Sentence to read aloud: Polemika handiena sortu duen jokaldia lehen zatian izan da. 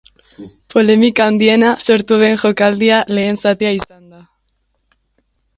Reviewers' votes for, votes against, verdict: 1, 2, rejected